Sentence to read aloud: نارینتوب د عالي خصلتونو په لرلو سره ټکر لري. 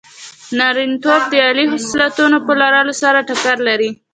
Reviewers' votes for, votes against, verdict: 2, 0, accepted